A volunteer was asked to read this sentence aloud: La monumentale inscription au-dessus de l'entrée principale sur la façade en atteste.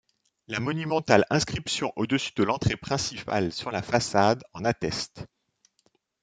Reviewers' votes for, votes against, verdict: 0, 2, rejected